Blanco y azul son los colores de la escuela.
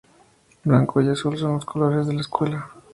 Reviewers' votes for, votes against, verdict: 2, 0, accepted